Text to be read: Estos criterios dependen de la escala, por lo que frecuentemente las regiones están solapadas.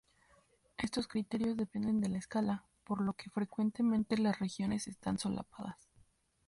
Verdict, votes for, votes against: rejected, 0, 2